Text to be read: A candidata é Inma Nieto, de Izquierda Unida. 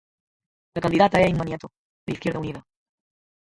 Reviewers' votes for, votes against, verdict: 0, 4, rejected